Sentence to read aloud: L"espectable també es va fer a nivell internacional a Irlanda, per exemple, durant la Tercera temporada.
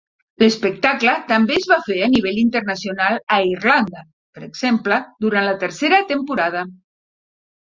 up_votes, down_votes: 2, 0